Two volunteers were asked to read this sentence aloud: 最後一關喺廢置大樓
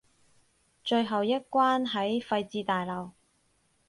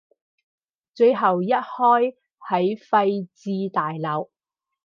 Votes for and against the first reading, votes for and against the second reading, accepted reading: 6, 0, 0, 4, first